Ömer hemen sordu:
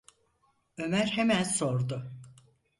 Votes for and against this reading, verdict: 4, 0, accepted